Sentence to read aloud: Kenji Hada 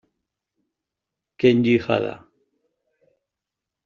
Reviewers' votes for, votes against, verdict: 1, 2, rejected